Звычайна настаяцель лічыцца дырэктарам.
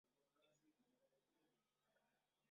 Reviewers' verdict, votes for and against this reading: rejected, 0, 2